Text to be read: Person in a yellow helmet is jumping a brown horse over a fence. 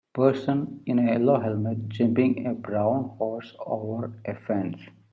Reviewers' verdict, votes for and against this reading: rejected, 0, 4